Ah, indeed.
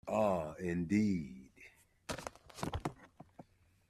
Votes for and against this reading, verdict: 2, 0, accepted